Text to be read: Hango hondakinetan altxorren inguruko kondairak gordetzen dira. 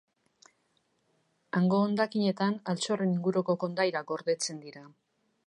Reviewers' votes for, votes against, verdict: 2, 0, accepted